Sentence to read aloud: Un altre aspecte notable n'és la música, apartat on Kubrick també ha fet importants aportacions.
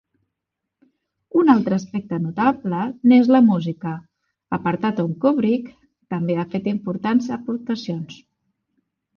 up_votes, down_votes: 2, 0